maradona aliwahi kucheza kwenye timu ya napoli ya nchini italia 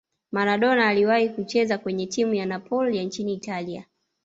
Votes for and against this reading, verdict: 0, 2, rejected